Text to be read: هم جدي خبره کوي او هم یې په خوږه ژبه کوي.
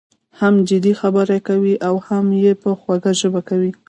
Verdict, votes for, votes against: rejected, 1, 2